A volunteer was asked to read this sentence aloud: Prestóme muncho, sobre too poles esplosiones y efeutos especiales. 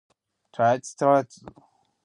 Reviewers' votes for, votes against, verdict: 0, 2, rejected